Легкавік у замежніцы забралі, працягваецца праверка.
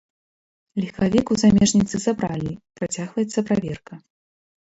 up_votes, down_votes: 0, 2